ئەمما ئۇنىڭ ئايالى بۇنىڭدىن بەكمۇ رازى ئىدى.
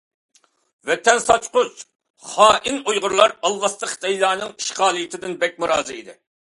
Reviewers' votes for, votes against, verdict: 0, 2, rejected